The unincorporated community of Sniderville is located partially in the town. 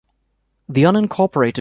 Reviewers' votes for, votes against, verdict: 1, 2, rejected